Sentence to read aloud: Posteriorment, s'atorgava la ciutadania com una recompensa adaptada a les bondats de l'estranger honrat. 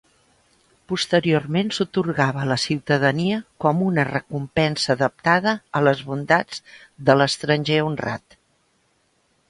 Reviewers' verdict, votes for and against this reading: rejected, 1, 2